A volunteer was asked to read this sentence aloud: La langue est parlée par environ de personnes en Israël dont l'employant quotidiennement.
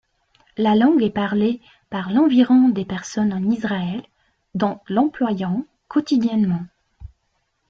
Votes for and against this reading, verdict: 0, 2, rejected